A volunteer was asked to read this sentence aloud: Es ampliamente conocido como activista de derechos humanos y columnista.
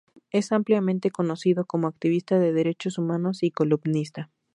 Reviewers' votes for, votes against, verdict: 2, 0, accepted